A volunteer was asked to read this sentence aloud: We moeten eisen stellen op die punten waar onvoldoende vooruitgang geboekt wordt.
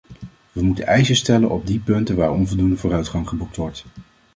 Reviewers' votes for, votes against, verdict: 2, 0, accepted